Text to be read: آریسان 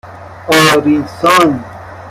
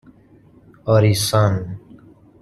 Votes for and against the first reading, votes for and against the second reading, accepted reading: 0, 2, 2, 0, second